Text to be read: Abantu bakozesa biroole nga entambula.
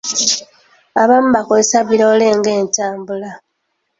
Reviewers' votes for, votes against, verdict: 0, 2, rejected